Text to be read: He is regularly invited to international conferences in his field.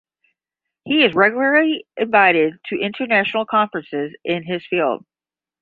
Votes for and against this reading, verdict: 5, 5, rejected